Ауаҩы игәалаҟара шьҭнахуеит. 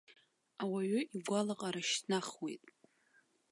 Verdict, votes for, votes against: accepted, 2, 0